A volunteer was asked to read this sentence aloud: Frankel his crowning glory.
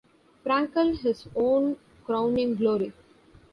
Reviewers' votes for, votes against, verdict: 1, 2, rejected